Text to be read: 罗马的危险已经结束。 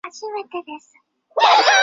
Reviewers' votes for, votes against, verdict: 1, 6, rejected